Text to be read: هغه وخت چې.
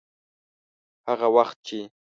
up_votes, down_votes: 2, 0